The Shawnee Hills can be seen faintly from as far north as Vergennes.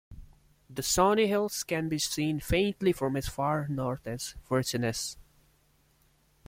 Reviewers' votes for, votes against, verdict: 2, 0, accepted